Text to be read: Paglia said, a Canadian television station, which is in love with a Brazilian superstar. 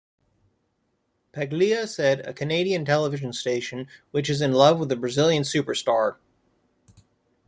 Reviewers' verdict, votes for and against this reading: accepted, 2, 0